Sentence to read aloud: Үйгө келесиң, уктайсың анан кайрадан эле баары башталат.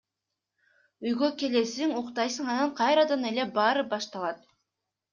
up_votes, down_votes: 2, 0